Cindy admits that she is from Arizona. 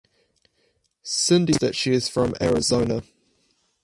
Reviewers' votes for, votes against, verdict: 0, 4, rejected